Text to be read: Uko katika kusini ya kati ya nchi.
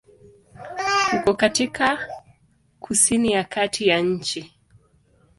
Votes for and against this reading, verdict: 1, 2, rejected